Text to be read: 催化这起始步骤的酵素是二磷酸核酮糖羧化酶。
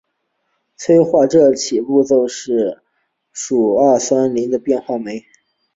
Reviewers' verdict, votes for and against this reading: rejected, 2, 4